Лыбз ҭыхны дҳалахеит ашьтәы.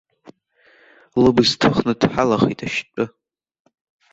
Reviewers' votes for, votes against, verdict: 2, 0, accepted